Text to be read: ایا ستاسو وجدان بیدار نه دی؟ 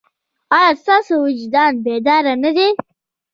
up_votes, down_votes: 2, 0